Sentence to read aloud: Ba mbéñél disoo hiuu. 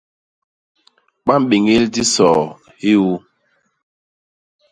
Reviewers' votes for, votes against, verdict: 0, 2, rejected